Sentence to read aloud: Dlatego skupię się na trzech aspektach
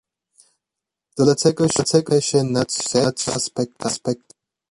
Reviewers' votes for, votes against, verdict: 0, 2, rejected